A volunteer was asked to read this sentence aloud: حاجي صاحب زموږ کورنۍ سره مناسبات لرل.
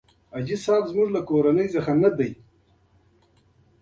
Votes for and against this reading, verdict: 2, 1, accepted